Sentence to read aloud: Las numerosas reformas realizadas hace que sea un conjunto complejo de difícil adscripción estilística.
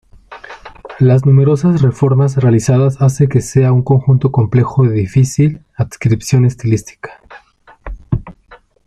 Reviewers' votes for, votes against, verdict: 4, 0, accepted